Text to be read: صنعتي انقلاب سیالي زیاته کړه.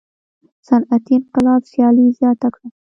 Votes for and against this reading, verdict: 1, 2, rejected